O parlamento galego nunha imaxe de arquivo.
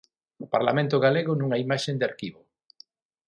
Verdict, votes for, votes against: rejected, 0, 9